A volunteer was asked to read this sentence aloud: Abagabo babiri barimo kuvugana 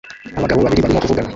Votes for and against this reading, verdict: 0, 2, rejected